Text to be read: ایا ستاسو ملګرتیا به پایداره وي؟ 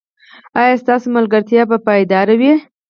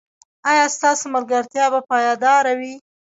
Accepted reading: first